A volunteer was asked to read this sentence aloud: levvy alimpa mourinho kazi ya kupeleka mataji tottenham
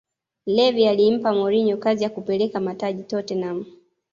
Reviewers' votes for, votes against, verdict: 2, 0, accepted